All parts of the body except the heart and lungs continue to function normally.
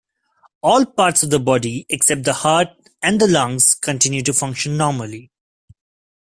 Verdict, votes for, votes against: rejected, 0, 2